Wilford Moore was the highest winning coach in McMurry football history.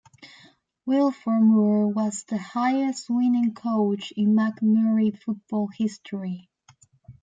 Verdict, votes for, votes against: accepted, 2, 0